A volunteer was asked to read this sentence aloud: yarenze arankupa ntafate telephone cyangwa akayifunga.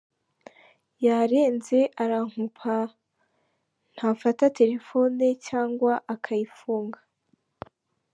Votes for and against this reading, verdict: 1, 2, rejected